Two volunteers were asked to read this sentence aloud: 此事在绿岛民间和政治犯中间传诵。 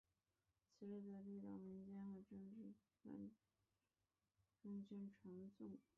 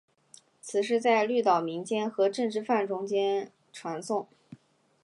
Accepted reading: second